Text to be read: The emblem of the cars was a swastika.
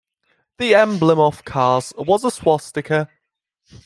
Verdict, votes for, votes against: rejected, 1, 2